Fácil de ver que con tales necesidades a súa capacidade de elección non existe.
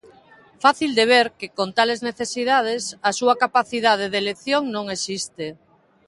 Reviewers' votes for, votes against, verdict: 2, 0, accepted